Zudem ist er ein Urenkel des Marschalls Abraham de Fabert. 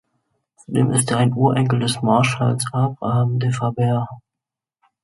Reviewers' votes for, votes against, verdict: 1, 3, rejected